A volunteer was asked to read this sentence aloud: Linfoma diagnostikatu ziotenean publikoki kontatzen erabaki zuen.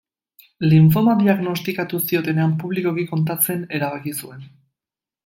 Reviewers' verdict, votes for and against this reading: accepted, 2, 0